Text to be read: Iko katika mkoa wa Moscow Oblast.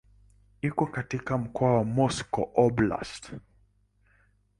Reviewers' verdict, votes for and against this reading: accepted, 2, 1